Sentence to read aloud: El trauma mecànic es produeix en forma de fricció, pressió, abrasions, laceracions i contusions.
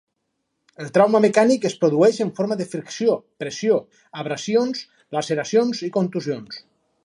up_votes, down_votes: 4, 2